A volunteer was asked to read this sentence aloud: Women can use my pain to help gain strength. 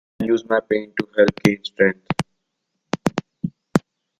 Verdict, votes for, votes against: rejected, 0, 2